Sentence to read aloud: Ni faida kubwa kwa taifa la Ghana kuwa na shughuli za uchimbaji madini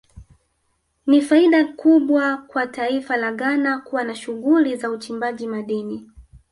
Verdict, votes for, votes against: rejected, 0, 2